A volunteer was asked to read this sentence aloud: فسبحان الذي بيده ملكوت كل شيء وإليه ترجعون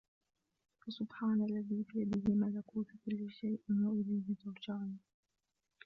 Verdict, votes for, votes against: rejected, 0, 2